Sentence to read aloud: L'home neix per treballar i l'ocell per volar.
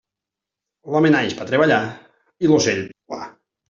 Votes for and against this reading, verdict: 0, 2, rejected